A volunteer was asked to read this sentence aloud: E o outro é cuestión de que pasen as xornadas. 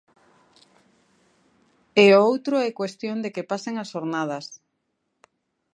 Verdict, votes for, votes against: accepted, 2, 0